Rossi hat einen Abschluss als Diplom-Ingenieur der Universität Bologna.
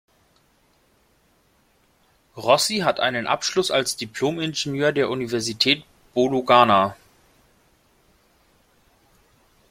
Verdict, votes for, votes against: rejected, 0, 2